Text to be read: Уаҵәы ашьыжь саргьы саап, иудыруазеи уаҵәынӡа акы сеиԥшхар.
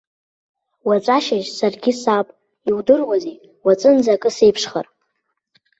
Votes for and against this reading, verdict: 0, 2, rejected